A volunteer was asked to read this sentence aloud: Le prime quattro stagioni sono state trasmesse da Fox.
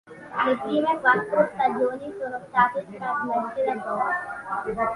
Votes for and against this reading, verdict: 2, 1, accepted